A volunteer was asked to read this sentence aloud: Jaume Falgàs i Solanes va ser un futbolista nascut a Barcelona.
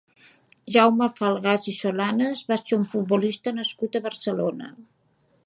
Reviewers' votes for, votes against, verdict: 3, 0, accepted